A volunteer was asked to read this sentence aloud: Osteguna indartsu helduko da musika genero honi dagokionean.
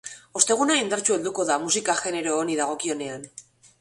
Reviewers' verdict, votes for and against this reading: accepted, 3, 0